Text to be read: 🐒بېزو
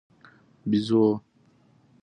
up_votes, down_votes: 2, 0